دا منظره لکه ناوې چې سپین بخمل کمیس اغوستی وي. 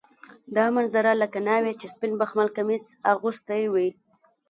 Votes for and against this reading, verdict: 2, 0, accepted